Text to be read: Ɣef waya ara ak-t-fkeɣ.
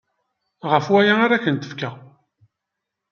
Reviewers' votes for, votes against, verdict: 1, 2, rejected